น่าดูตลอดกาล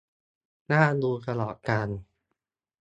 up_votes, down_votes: 2, 0